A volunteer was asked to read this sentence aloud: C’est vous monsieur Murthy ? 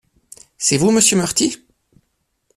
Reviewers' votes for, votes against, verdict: 2, 0, accepted